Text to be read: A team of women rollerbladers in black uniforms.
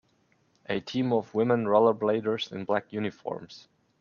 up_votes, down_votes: 2, 0